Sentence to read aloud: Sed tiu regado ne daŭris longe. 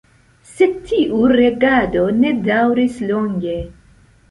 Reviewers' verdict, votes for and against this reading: accepted, 2, 1